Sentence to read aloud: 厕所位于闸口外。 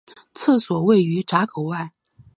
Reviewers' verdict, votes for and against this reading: accepted, 4, 0